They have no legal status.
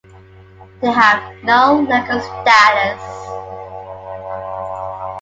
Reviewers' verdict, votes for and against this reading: rejected, 0, 2